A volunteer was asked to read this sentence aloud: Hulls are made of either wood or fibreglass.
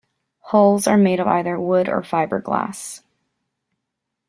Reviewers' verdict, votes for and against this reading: accepted, 3, 0